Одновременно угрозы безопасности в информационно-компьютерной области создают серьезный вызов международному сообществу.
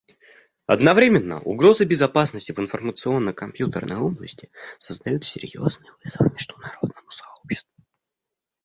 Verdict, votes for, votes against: rejected, 0, 2